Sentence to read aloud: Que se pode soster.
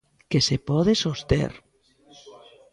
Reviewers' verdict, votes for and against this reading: rejected, 1, 2